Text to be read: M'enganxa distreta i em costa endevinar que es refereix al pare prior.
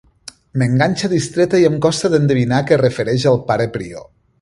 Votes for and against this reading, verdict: 2, 0, accepted